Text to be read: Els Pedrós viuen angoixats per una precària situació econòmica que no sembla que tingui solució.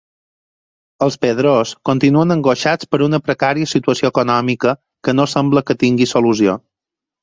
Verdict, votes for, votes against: accepted, 4, 2